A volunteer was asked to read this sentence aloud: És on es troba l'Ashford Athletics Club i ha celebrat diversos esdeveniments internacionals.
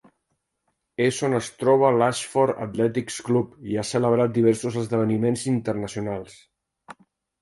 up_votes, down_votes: 3, 0